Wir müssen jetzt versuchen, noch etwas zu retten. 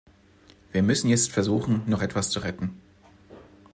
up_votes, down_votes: 2, 0